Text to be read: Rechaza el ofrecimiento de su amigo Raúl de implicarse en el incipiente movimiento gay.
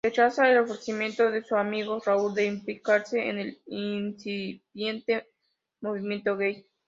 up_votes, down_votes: 2, 1